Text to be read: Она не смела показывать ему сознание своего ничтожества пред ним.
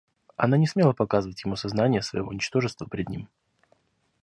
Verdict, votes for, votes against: accepted, 2, 0